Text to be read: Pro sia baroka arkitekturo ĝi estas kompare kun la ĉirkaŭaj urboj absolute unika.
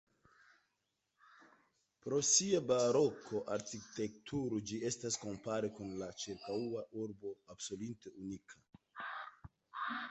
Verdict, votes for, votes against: rejected, 1, 2